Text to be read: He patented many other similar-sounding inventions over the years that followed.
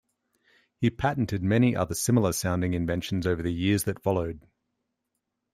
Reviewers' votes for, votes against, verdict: 2, 0, accepted